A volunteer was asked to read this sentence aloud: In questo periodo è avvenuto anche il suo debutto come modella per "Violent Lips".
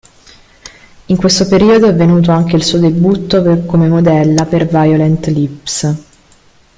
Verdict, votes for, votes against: rejected, 0, 2